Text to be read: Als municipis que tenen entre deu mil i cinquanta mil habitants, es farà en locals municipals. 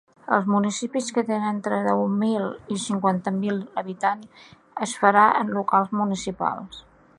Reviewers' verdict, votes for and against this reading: accepted, 2, 1